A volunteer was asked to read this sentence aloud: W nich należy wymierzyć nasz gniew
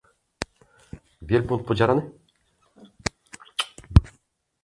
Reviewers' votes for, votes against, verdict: 0, 2, rejected